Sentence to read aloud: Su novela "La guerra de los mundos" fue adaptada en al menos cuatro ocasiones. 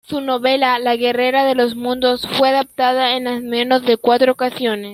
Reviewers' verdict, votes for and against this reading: rejected, 0, 2